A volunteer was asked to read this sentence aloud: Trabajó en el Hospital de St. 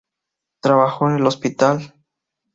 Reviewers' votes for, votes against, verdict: 2, 2, rejected